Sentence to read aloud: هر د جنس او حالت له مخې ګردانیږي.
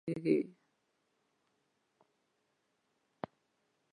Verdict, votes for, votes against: rejected, 0, 2